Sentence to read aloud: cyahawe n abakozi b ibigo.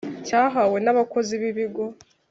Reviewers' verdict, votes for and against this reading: rejected, 0, 2